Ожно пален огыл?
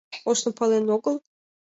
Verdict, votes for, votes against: accepted, 4, 2